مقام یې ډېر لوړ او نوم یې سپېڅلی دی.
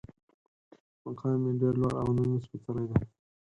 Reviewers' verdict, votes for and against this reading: accepted, 4, 0